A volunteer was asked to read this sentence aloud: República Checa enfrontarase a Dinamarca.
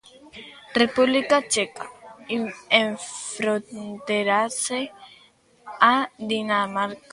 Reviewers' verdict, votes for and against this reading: rejected, 0, 2